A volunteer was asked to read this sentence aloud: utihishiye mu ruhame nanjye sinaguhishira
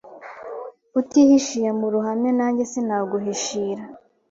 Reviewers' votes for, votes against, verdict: 2, 0, accepted